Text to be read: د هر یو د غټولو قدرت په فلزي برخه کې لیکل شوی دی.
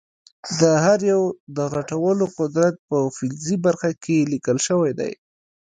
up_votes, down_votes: 1, 2